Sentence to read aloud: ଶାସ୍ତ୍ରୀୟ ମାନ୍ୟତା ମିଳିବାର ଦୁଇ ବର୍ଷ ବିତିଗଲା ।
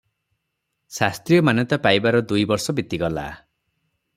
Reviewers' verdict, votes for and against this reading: rejected, 3, 3